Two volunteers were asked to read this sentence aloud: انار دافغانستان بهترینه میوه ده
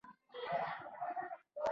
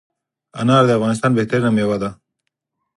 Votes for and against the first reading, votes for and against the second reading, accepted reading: 0, 2, 4, 0, second